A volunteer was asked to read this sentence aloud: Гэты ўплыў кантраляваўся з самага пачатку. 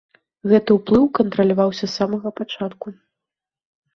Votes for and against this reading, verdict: 3, 0, accepted